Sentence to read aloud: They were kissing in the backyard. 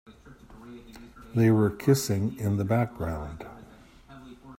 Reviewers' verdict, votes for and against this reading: rejected, 1, 2